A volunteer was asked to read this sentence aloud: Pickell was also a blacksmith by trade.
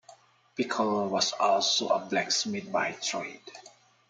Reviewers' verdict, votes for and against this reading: accepted, 2, 1